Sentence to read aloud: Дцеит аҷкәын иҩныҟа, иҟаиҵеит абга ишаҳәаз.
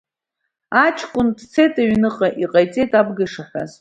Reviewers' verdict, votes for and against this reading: rejected, 1, 2